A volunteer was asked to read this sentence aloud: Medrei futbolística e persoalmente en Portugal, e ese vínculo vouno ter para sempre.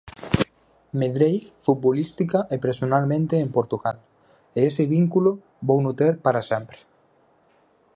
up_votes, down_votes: 0, 4